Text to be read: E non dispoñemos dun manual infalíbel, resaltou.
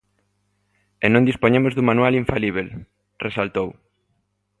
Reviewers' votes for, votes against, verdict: 2, 0, accepted